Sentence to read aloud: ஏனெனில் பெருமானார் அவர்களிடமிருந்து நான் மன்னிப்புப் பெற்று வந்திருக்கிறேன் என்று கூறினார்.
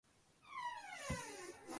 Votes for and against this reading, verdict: 0, 2, rejected